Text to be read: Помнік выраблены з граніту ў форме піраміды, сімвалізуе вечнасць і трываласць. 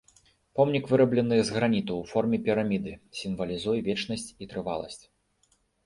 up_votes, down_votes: 2, 0